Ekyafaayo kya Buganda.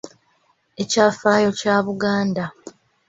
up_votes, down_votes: 2, 0